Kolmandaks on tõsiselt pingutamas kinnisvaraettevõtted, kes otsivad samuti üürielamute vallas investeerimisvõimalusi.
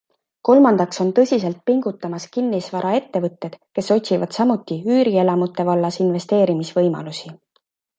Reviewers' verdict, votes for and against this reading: accepted, 2, 0